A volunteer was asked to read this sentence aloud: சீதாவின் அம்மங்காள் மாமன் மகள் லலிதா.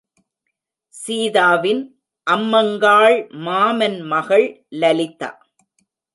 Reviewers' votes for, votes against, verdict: 1, 2, rejected